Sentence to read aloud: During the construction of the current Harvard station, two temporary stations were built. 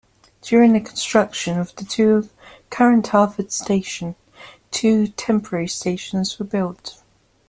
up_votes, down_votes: 1, 2